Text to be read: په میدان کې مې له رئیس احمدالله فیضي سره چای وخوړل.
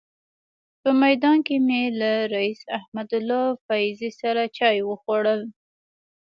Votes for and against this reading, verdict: 1, 2, rejected